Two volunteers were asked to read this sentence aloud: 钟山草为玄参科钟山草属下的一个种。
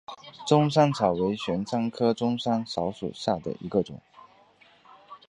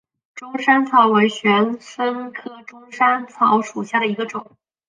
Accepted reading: second